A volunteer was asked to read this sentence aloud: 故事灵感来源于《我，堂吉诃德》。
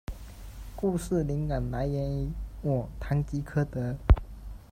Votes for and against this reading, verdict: 2, 1, accepted